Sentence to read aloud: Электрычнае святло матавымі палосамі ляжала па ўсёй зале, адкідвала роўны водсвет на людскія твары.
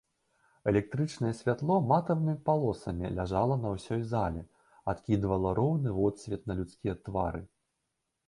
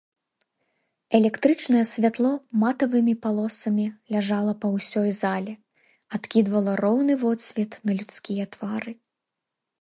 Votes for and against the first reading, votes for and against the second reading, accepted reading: 1, 2, 2, 0, second